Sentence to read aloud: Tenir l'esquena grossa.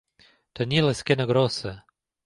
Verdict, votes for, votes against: accepted, 2, 0